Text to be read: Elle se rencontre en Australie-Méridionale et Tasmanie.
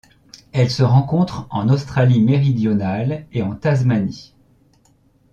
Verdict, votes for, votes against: rejected, 1, 2